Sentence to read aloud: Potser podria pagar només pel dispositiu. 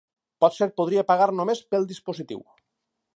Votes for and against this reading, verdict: 4, 0, accepted